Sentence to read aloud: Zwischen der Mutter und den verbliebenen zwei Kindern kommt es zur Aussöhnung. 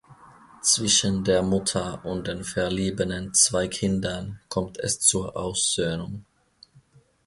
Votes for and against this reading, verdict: 0, 2, rejected